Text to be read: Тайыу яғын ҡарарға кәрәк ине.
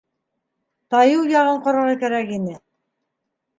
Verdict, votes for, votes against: accepted, 2, 0